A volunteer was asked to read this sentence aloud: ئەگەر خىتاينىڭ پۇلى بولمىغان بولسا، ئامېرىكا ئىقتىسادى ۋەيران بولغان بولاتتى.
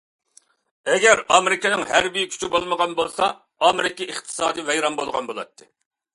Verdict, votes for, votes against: rejected, 0, 2